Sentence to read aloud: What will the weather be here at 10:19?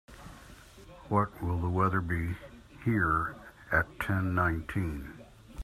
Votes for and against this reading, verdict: 0, 2, rejected